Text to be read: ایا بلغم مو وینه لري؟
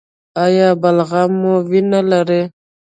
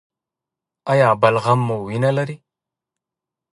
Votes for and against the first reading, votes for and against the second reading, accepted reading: 0, 2, 2, 0, second